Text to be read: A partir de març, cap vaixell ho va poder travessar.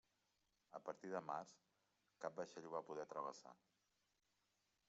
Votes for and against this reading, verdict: 1, 2, rejected